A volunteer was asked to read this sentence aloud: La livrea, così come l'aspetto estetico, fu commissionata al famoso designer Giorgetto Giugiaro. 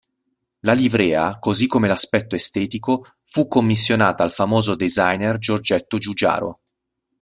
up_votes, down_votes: 2, 0